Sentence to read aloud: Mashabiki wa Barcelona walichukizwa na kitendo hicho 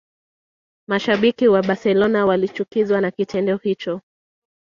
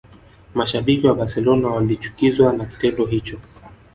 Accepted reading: second